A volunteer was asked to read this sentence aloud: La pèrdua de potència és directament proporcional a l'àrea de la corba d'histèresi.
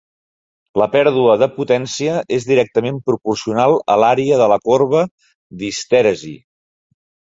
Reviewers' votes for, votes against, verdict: 4, 0, accepted